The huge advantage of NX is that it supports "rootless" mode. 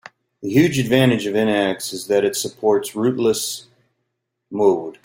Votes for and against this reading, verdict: 2, 1, accepted